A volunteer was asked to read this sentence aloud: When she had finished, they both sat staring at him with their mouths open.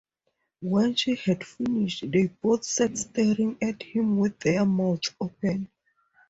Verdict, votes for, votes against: accepted, 4, 0